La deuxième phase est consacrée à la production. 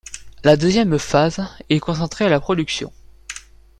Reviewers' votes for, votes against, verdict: 1, 2, rejected